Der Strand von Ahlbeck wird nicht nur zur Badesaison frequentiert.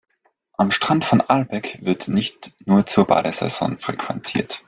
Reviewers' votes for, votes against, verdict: 0, 2, rejected